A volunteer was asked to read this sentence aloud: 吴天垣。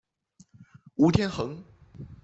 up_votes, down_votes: 2, 0